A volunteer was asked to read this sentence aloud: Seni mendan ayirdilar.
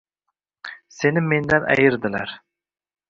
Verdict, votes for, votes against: rejected, 1, 2